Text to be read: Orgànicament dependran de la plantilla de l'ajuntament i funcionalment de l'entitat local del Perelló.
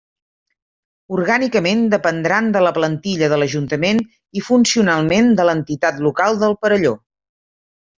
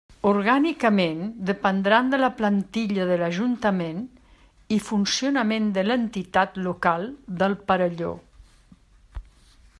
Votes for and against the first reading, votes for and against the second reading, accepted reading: 3, 0, 1, 2, first